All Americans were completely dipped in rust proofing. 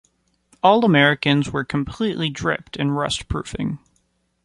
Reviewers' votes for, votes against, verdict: 1, 2, rejected